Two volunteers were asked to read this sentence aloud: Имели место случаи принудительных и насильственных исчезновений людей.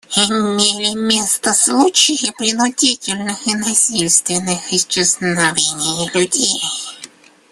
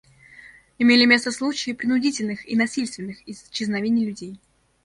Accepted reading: second